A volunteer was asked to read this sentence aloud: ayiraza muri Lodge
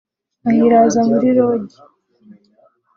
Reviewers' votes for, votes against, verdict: 2, 0, accepted